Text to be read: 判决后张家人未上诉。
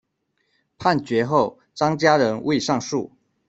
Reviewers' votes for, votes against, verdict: 1, 2, rejected